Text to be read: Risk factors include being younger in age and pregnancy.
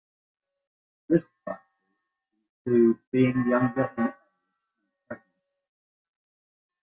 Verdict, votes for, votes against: rejected, 0, 2